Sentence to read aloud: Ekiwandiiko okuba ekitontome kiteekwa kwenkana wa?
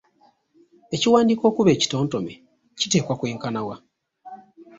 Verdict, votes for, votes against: rejected, 0, 2